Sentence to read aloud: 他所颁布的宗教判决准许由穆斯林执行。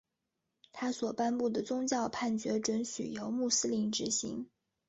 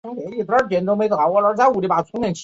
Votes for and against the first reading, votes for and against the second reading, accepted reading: 3, 0, 0, 3, first